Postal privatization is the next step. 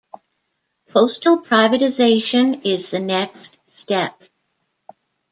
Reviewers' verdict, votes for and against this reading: accepted, 2, 0